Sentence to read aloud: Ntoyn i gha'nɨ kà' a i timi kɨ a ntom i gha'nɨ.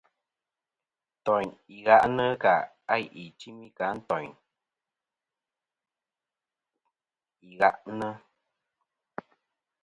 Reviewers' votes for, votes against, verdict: 1, 2, rejected